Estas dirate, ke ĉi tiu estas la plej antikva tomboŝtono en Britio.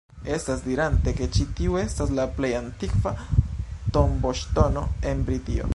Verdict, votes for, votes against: rejected, 0, 2